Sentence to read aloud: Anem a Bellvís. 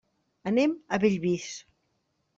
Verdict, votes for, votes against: accepted, 3, 0